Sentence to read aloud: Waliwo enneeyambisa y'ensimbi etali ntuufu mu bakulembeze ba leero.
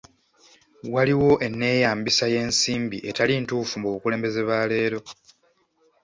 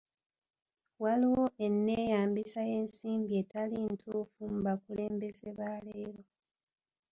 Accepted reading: second